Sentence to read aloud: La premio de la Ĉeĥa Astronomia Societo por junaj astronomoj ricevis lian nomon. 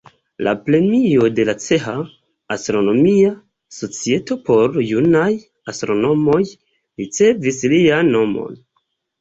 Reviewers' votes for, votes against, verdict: 1, 2, rejected